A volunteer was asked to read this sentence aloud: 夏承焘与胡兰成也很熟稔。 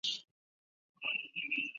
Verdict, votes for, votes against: rejected, 1, 4